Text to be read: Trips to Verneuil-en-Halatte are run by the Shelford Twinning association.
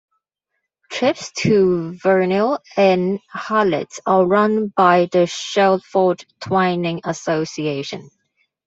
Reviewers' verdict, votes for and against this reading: rejected, 0, 2